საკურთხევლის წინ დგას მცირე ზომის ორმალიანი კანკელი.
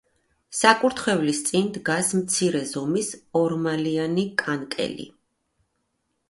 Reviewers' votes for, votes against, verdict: 2, 0, accepted